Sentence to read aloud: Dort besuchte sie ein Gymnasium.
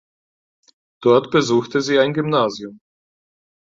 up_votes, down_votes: 4, 0